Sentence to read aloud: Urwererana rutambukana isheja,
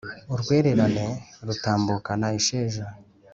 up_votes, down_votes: 2, 0